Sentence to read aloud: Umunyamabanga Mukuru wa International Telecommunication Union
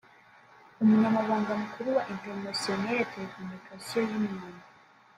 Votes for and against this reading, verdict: 2, 1, accepted